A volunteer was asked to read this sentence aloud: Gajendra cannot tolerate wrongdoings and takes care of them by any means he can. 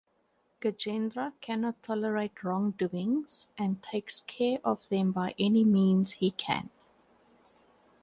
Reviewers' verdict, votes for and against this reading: accepted, 2, 0